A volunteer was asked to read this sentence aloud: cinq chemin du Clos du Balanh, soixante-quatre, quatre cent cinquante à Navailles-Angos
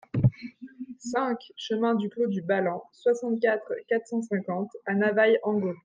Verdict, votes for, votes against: rejected, 1, 2